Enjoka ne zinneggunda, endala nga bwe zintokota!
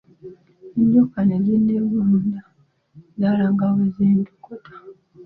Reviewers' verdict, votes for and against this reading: accepted, 2, 1